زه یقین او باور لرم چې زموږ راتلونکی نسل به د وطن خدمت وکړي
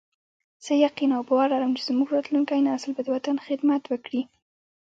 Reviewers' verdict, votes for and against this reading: rejected, 1, 2